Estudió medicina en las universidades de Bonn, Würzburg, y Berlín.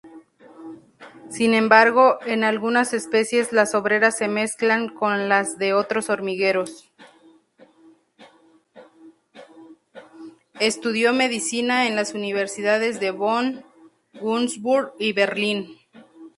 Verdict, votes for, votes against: rejected, 0, 2